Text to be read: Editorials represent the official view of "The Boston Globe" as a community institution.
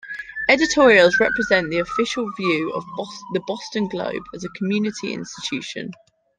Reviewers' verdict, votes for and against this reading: rejected, 1, 2